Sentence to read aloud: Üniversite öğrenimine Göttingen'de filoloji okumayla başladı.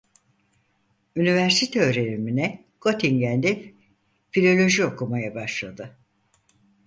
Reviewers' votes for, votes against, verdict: 2, 4, rejected